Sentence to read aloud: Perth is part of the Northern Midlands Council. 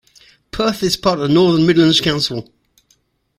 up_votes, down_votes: 2, 0